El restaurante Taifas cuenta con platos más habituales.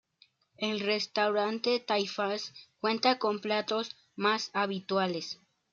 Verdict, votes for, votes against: accepted, 2, 0